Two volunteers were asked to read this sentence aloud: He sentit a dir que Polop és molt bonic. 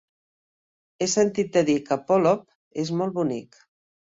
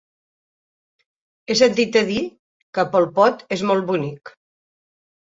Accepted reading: first